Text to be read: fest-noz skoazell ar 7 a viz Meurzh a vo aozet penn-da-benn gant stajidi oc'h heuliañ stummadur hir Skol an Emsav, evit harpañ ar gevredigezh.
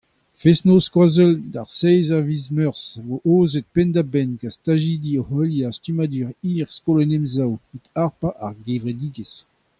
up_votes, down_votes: 0, 2